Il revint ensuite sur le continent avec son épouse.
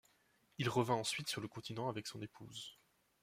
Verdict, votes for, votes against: accepted, 2, 0